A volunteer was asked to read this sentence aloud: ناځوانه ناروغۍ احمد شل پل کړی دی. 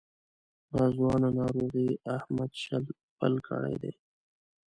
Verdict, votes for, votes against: rejected, 0, 2